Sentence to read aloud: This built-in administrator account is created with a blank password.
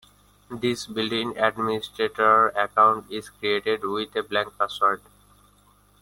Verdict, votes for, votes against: accepted, 2, 0